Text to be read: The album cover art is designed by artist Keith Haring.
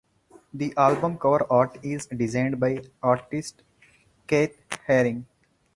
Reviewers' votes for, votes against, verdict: 0, 4, rejected